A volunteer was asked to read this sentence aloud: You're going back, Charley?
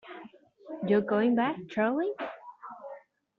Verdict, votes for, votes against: accepted, 2, 0